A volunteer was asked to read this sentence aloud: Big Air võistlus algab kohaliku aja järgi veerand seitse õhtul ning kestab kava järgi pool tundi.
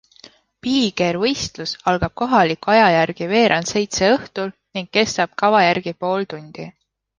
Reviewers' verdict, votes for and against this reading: accepted, 2, 0